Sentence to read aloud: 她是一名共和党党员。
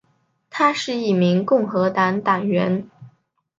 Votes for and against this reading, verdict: 7, 0, accepted